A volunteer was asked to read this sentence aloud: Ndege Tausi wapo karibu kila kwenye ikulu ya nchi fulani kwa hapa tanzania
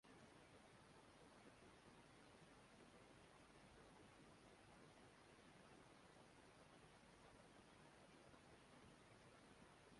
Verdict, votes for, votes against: rejected, 0, 2